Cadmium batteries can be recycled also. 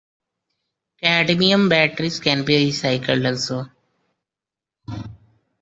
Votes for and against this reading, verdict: 1, 2, rejected